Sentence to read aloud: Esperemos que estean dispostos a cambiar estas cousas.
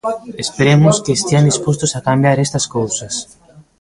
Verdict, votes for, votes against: rejected, 0, 2